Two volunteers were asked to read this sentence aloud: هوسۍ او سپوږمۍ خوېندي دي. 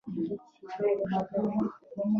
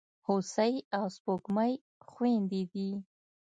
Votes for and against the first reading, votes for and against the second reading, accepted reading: 0, 2, 2, 0, second